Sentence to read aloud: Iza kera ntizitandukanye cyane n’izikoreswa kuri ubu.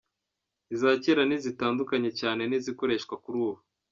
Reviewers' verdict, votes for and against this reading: accepted, 2, 0